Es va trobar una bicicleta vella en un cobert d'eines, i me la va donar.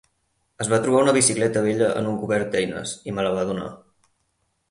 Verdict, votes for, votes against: accepted, 6, 2